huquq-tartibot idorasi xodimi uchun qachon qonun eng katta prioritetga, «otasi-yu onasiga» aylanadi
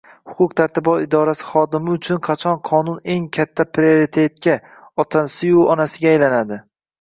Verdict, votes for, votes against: rejected, 1, 2